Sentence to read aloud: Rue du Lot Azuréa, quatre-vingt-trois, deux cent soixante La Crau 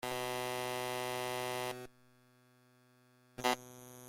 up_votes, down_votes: 0, 2